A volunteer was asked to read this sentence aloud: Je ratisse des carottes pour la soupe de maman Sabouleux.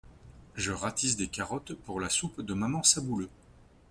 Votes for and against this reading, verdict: 2, 0, accepted